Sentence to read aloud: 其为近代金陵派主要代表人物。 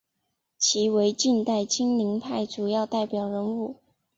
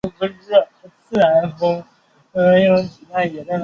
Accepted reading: first